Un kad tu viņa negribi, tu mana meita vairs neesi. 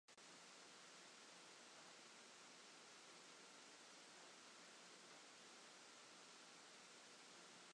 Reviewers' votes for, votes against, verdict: 0, 2, rejected